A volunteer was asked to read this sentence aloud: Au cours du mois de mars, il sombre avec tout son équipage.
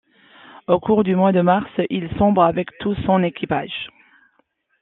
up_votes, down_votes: 1, 2